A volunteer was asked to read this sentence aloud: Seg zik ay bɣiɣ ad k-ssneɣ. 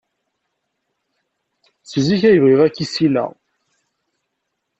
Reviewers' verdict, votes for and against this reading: rejected, 1, 2